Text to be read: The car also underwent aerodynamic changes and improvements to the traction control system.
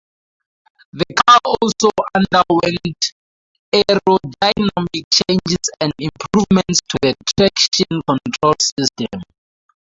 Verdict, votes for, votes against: rejected, 0, 2